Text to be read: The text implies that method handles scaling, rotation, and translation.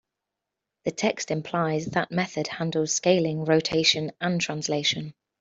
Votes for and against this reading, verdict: 2, 0, accepted